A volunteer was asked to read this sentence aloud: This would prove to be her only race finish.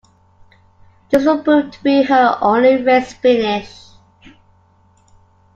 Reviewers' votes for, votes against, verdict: 2, 1, accepted